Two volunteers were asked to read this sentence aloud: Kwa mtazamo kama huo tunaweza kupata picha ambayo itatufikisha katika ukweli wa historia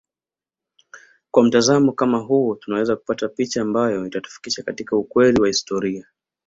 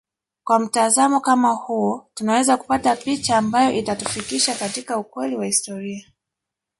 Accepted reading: first